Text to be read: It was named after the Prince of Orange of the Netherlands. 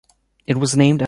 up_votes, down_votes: 0, 2